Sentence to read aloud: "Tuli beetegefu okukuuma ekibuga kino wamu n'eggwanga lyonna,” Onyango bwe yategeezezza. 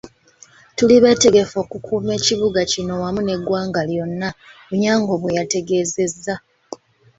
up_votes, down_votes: 2, 0